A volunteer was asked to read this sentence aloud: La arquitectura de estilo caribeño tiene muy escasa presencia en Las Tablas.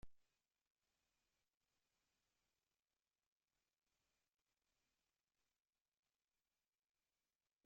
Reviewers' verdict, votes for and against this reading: rejected, 0, 3